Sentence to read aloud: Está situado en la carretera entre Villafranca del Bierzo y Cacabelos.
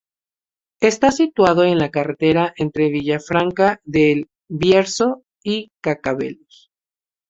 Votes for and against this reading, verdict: 6, 0, accepted